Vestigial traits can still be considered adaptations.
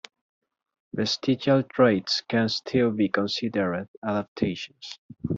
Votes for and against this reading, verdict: 2, 0, accepted